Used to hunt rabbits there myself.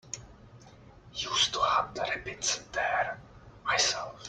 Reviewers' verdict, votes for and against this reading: accepted, 2, 1